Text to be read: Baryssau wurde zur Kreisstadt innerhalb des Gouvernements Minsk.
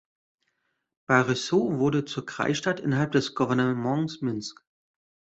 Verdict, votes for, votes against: rejected, 1, 2